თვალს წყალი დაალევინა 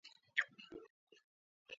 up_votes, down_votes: 0, 2